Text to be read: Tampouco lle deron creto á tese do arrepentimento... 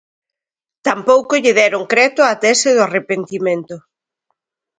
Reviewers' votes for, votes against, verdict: 2, 0, accepted